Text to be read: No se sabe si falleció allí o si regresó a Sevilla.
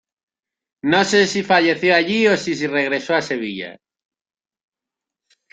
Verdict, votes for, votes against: rejected, 1, 2